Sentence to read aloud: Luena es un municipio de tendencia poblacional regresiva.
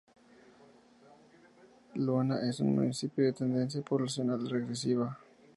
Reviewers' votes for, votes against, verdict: 2, 4, rejected